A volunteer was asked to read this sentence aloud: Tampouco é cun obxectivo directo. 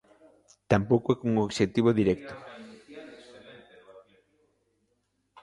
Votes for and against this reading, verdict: 2, 0, accepted